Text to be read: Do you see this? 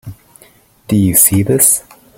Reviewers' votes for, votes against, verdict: 2, 0, accepted